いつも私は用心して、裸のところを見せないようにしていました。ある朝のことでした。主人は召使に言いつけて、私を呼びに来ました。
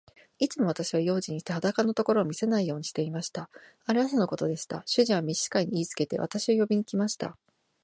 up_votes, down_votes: 2, 0